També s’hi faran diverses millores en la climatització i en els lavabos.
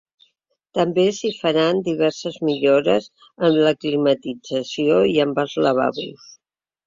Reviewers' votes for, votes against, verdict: 0, 3, rejected